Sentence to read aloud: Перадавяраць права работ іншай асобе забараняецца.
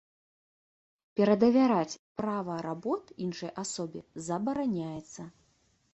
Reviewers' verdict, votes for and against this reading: accepted, 3, 0